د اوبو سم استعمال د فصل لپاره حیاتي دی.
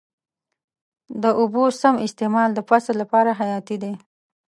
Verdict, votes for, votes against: accepted, 2, 0